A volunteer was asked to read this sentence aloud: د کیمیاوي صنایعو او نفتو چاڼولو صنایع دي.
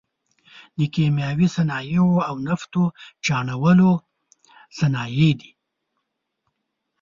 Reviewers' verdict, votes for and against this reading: accepted, 2, 0